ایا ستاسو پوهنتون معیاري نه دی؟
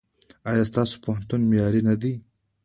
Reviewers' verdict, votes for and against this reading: accepted, 2, 0